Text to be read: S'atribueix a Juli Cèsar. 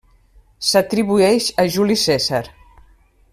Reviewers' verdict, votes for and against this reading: rejected, 1, 2